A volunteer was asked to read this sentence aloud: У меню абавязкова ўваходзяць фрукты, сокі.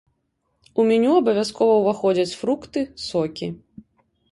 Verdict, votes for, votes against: accepted, 2, 0